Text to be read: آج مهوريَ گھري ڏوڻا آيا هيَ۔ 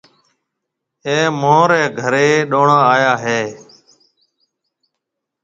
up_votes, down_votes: 2, 0